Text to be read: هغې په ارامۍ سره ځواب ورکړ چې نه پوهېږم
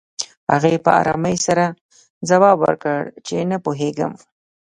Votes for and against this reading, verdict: 0, 2, rejected